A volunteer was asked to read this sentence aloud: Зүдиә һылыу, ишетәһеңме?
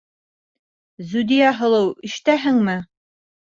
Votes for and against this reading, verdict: 2, 0, accepted